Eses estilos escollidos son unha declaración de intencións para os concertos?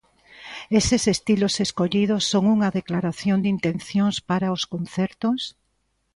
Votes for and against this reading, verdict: 2, 0, accepted